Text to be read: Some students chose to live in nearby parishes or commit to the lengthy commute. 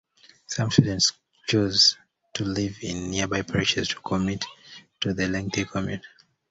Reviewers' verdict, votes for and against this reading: accepted, 2, 0